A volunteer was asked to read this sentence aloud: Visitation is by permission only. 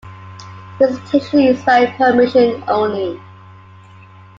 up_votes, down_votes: 2, 1